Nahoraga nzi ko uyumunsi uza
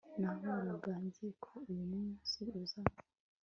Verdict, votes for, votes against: accepted, 2, 0